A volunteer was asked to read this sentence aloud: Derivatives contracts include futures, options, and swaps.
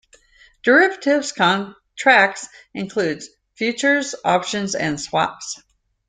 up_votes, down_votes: 0, 2